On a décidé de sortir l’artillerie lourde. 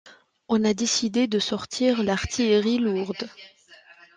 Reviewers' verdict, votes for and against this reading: accepted, 2, 0